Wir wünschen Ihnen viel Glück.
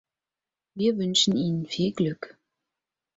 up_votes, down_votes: 4, 0